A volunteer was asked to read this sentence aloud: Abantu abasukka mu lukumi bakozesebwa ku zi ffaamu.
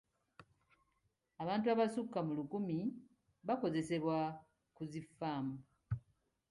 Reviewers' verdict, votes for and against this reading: accepted, 3, 0